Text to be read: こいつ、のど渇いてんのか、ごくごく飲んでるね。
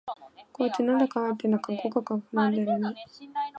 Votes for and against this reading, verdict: 1, 2, rejected